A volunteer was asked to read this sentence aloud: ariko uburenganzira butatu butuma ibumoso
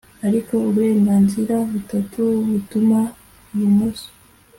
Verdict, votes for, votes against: accepted, 2, 0